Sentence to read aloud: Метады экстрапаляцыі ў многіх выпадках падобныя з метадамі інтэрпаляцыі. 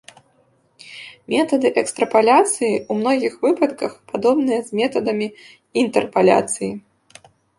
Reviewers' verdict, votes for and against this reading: rejected, 0, 2